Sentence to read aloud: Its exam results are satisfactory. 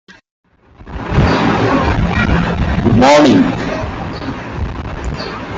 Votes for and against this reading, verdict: 0, 2, rejected